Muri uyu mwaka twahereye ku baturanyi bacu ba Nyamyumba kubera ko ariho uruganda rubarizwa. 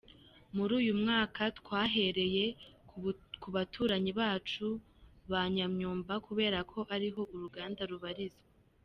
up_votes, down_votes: 0, 2